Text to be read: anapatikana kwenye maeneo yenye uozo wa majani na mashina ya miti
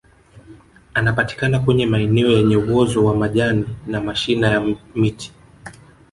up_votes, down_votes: 1, 2